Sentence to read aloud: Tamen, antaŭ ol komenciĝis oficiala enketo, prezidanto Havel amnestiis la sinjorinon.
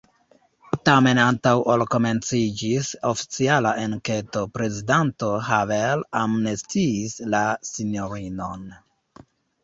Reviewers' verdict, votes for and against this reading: rejected, 1, 2